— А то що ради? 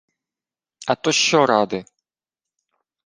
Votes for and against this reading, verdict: 2, 0, accepted